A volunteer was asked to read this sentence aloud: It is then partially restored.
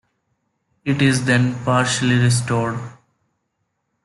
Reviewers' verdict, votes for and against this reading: accepted, 2, 0